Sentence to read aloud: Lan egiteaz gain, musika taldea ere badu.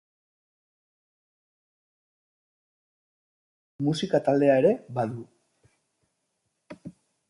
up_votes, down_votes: 2, 2